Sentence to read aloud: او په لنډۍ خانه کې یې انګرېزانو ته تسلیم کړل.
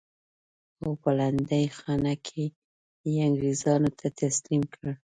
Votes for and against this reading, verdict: 2, 0, accepted